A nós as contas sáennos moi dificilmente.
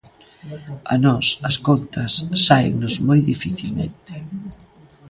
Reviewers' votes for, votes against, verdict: 2, 0, accepted